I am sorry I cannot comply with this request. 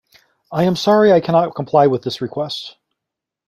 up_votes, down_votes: 2, 1